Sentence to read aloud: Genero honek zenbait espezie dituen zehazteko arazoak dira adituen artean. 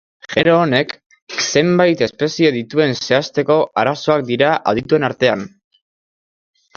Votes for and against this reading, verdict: 0, 2, rejected